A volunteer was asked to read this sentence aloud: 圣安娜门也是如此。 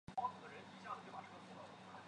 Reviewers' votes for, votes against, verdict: 0, 2, rejected